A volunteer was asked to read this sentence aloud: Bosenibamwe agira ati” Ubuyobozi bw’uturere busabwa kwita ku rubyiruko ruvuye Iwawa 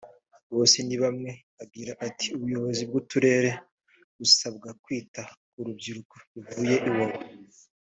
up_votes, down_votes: 2, 0